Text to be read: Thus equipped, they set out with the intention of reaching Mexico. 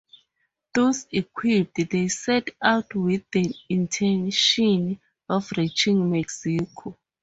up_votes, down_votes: 0, 2